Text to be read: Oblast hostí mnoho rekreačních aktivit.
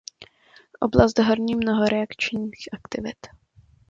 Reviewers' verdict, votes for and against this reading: rejected, 0, 2